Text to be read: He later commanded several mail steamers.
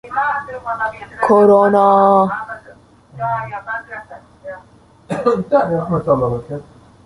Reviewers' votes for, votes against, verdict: 0, 2, rejected